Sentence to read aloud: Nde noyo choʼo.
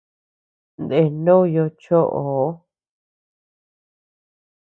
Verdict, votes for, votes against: accepted, 2, 0